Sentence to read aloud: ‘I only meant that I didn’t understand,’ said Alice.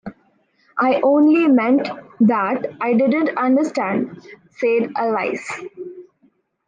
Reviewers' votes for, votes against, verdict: 1, 2, rejected